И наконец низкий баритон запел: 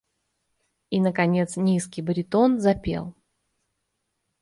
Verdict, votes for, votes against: accepted, 2, 0